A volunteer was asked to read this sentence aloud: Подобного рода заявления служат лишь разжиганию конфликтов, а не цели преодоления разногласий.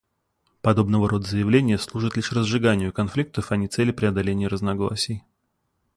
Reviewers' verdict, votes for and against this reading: accepted, 2, 0